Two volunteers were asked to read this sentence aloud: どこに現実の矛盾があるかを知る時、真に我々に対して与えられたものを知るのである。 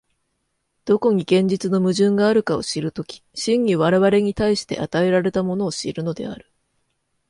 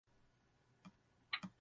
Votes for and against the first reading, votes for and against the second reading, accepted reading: 2, 0, 0, 2, first